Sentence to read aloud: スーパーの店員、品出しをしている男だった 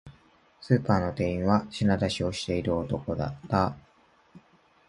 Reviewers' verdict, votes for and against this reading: rejected, 0, 2